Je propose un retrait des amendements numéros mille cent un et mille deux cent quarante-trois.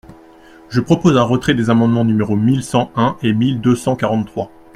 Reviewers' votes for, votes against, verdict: 2, 0, accepted